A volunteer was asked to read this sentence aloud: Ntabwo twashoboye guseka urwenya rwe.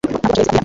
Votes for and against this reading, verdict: 0, 2, rejected